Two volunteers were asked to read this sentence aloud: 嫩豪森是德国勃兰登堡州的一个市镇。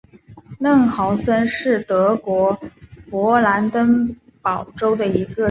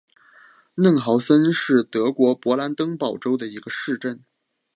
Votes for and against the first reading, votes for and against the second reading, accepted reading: 0, 2, 3, 0, second